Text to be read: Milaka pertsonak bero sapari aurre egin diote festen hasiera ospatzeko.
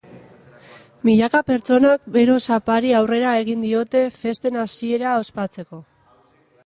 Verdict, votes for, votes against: rejected, 1, 2